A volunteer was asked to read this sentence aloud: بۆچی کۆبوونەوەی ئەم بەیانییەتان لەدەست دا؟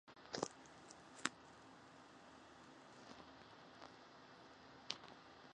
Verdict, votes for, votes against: rejected, 0, 2